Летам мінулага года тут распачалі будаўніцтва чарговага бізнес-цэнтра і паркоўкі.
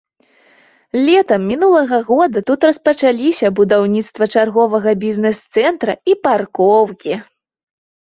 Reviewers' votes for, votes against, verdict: 1, 2, rejected